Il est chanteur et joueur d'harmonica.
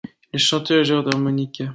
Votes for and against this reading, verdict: 1, 2, rejected